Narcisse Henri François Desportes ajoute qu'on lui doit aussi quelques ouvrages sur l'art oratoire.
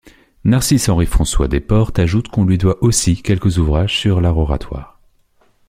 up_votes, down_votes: 2, 0